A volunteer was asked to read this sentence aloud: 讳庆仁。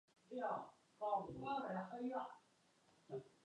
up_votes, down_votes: 0, 2